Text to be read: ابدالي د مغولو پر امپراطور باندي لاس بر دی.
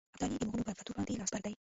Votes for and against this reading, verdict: 0, 2, rejected